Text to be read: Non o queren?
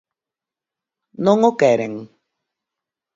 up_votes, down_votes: 36, 2